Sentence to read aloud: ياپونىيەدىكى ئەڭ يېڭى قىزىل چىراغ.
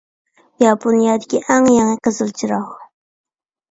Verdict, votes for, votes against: accepted, 2, 0